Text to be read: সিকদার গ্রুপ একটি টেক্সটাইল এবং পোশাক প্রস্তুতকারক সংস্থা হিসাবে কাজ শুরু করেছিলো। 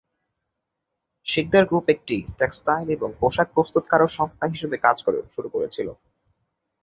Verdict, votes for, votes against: rejected, 3, 4